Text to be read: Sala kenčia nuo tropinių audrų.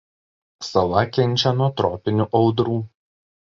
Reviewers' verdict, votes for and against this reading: accepted, 2, 0